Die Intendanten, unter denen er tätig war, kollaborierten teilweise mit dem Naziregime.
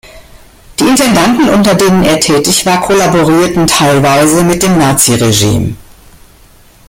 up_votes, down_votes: 2, 0